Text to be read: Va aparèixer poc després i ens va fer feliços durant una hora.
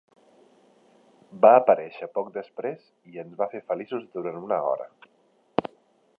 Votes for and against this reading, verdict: 3, 0, accepted